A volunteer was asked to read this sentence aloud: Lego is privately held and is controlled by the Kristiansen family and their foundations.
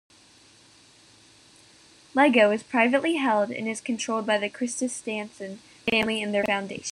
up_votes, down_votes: 0, 2